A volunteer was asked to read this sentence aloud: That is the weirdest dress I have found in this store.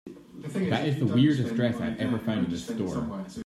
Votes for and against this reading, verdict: 0, 2, rejected